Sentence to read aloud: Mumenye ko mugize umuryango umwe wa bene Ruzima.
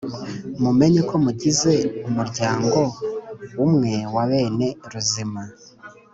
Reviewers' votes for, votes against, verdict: 2, 0, accepted